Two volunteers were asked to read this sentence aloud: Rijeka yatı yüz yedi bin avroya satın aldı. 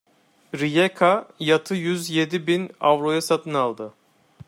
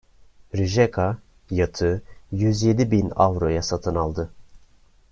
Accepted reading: second